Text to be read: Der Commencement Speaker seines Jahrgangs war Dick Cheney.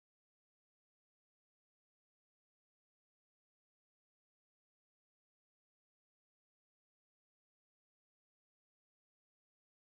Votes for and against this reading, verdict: 1, 2, rejected